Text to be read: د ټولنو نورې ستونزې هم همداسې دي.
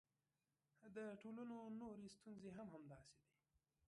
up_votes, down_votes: 0, 2